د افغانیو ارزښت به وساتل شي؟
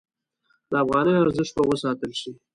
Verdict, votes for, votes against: accepted, 2, 0